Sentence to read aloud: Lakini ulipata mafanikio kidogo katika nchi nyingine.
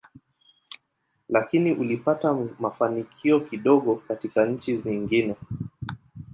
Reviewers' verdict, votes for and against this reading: rejected, 0, 2